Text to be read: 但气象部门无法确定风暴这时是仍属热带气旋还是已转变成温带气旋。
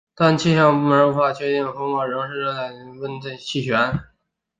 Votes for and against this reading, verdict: 1, 2, rejected